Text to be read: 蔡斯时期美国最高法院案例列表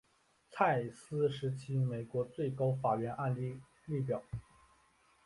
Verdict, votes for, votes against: accepted, 2, 1